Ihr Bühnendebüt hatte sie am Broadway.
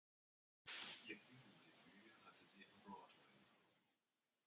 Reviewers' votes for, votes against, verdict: 0, 2, rejected